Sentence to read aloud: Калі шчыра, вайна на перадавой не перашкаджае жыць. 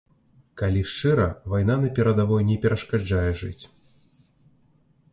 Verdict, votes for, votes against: accepted, 2, 0